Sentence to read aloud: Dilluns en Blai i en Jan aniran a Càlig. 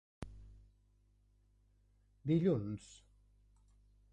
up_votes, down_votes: 0, 2